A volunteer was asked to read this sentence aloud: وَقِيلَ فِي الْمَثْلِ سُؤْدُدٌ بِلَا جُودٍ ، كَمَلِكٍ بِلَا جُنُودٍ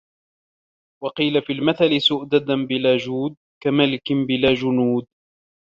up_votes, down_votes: 0, 2